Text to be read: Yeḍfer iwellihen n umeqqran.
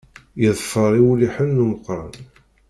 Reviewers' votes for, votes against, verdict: 0, 2, rejected